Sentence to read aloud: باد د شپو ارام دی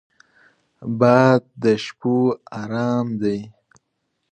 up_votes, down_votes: 2, 0